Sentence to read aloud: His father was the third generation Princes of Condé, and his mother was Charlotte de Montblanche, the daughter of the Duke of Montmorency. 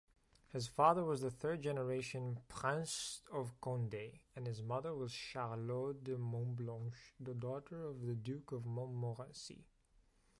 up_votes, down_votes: 2, 0